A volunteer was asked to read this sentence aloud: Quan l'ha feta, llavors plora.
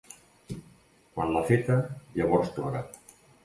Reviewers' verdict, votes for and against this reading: accepted, 4, 0